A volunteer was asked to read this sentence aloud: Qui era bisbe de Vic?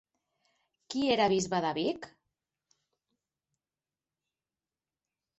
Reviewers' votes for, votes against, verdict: 6, 0, accepted